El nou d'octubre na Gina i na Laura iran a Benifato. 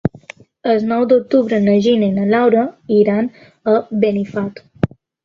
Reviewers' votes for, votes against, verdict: 2, 1, accepted